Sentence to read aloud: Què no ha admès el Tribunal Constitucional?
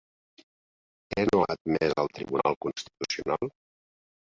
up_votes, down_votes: 2, 0